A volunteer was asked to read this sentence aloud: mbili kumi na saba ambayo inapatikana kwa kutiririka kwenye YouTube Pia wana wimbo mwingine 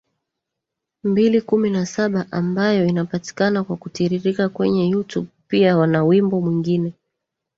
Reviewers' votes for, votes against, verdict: 1, 2, rejected